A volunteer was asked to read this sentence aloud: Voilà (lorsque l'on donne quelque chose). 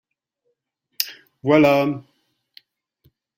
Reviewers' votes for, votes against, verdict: 0, 2, rejected